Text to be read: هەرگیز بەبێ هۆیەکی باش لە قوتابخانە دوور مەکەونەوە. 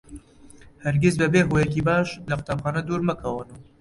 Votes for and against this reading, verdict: 0, 2, rejected